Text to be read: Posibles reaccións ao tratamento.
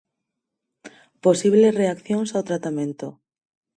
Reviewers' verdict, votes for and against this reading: accepted, 4, 0